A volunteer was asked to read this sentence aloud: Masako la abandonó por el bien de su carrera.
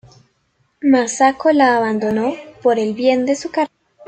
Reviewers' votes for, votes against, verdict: 1, 2, rejected